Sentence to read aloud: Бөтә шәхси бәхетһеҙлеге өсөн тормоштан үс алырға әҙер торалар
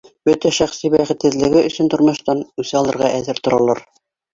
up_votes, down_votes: 2, 0